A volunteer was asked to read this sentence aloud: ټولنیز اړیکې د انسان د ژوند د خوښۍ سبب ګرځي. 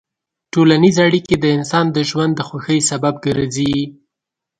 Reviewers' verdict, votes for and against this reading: accepted, 2, 0